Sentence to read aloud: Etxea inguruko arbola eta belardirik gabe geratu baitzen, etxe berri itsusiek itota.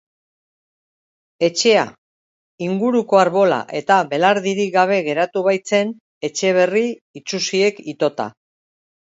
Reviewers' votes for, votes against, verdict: 2, 0, accepted